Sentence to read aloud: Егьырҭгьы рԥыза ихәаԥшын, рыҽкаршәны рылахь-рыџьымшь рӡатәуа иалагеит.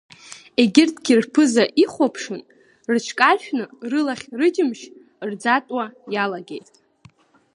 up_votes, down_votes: 2, 1